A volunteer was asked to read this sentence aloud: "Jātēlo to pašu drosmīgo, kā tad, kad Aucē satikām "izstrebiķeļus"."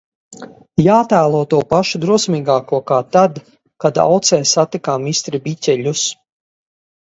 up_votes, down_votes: 2, 2